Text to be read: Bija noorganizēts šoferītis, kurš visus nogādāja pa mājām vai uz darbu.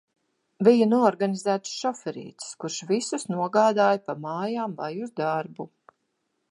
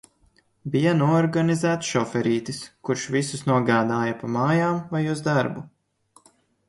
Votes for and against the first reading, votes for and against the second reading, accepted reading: 0, 2, 2, 0, second